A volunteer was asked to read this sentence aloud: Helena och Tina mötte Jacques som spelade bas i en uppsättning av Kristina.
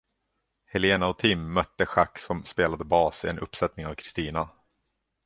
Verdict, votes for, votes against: rejected, 1, 2